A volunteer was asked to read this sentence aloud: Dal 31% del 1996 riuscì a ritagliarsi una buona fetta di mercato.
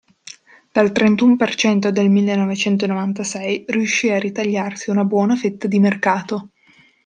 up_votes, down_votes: 0, 2